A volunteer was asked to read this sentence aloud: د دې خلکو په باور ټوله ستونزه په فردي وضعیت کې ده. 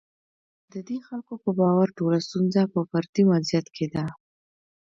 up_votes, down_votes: 1, 2